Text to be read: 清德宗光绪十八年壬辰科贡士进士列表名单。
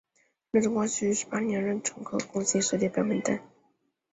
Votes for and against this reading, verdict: 2, 0, accepted